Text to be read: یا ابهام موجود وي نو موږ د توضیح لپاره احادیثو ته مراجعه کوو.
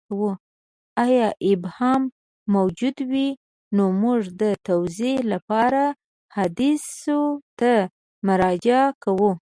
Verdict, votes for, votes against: rejected, 1, 2